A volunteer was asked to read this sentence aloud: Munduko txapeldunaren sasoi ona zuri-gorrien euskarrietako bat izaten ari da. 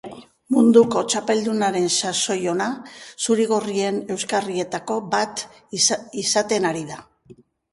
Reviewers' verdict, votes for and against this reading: rejected, 2, 2